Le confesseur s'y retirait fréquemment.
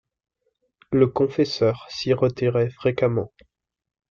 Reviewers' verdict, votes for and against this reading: accepted, 2, 0